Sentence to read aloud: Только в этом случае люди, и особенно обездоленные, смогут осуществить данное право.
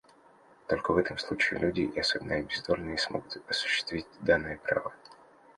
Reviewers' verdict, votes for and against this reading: accepted, 2, 0